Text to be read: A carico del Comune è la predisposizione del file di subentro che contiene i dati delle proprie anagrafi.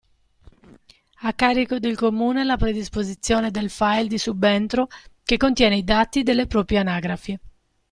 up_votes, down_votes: 2, 0